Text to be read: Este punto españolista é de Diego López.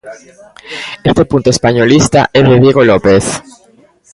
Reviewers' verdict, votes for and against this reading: rejected, 1, 2